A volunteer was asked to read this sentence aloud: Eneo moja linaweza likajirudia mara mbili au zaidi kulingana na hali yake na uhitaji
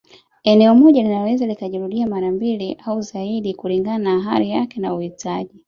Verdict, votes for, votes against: accepted, 3, 1